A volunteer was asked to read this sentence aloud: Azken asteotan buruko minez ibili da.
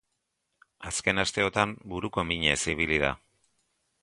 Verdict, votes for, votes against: accepted, 3, 0